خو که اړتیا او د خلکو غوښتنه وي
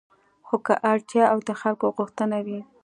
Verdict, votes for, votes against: accepted, 2, 0